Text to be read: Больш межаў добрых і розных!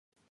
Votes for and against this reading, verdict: 0, 2, rejected